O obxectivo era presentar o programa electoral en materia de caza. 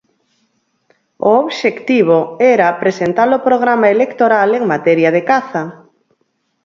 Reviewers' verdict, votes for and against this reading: rejected, 0, 4